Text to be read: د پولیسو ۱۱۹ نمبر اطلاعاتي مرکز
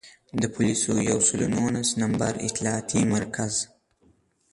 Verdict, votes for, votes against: rejected, 0, 2